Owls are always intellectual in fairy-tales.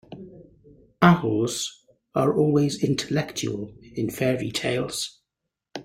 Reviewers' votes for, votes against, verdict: 2, 0, accepted